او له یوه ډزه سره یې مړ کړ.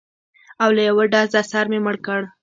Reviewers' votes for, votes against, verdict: 2, 0, accepted